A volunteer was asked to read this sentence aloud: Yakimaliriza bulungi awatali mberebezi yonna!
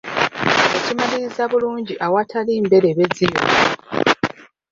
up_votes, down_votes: 0, 2